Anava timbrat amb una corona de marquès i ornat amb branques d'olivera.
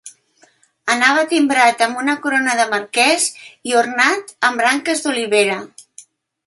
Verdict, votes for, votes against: accepted, 2, 0